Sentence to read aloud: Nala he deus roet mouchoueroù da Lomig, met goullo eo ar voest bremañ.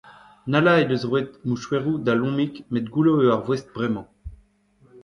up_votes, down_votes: 1, 2